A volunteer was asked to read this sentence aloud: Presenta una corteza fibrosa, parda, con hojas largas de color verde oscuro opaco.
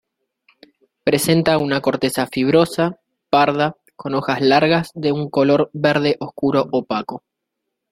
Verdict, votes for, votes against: rejected, 1, 2